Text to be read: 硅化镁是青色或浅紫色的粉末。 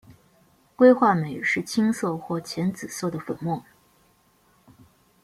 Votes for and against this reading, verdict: 2, 0, accepted